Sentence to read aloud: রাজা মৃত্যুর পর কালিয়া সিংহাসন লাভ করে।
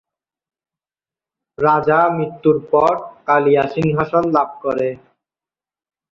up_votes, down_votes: 0, 2